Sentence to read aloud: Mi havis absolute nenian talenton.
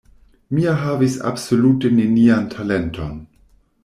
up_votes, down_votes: 0, 2